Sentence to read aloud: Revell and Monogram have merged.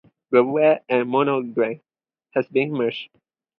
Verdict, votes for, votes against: rejected, 0, 4